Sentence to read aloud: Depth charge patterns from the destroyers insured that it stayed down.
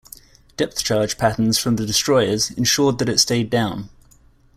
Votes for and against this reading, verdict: 2, 1, accepted